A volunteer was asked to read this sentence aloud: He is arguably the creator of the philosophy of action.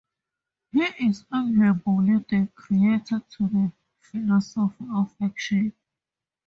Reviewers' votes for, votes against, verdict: 2, 0, accepted